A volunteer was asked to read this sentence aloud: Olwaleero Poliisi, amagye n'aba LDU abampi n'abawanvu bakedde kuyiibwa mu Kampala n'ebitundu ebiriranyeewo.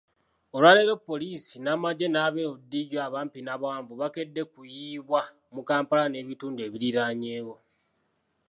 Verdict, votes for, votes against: rejected, 1, 2